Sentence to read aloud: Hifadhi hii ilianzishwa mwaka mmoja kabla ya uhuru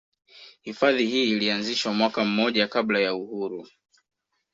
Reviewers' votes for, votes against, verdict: 2, 1, accepted